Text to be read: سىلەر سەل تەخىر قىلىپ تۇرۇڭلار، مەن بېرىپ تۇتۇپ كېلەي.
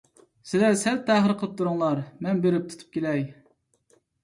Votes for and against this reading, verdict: 2, 0, accepted